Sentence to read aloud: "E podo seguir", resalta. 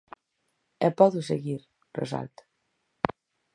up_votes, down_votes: 4, 0